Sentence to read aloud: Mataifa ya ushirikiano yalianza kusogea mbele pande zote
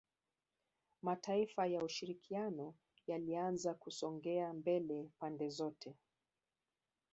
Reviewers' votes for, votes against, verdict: 0, 2, rejected